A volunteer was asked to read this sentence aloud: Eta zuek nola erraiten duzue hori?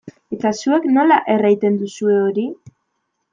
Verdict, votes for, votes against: accepted, 2, 0